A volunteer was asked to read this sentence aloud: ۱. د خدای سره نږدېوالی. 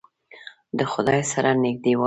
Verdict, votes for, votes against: rejected, 0, 2